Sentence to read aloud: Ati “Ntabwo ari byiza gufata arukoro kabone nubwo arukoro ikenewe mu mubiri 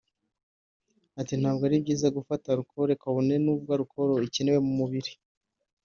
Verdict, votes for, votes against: accepted, 3, 0